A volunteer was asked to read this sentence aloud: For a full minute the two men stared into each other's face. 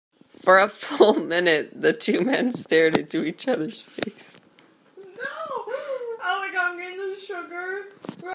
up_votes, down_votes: 0, 2